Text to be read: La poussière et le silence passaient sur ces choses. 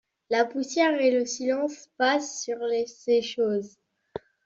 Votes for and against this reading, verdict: 0, 2, rejected